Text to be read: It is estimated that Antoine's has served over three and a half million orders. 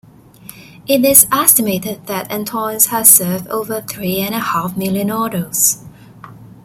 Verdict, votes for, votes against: rejected, 1, 2